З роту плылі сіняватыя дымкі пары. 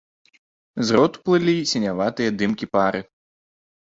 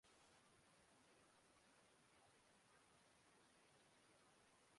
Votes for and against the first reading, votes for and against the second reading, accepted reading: 2, 0, 0, 2, first